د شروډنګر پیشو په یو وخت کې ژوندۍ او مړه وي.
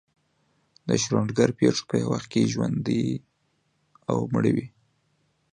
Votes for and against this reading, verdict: 2, 0, accepted